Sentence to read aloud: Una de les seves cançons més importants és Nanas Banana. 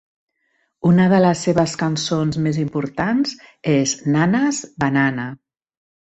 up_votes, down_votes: 2, 0